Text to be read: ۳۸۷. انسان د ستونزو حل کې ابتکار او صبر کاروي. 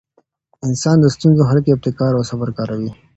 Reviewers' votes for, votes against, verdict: 0, 2, rejected